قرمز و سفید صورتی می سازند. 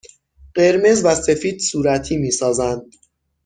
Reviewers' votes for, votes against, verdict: 6, 0, accepted